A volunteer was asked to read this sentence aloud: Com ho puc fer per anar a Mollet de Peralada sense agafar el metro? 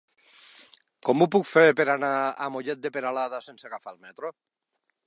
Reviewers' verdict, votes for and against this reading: accepted, 3, 0